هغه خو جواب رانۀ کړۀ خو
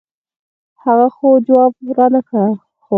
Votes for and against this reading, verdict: 2, 4, rejected